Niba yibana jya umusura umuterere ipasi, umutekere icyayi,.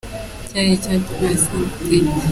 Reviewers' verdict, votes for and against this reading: rejected, 0, 2